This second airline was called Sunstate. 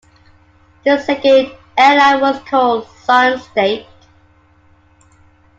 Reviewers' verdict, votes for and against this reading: accepted, 2, 0